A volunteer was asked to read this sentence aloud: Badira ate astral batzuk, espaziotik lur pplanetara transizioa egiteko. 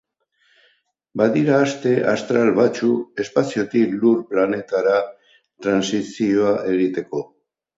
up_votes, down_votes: 2, 2